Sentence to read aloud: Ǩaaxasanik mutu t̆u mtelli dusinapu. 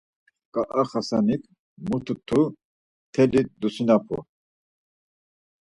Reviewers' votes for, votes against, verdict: 2, 4, rejected